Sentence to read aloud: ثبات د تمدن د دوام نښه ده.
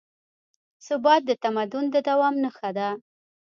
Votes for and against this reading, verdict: 0, 2, rejected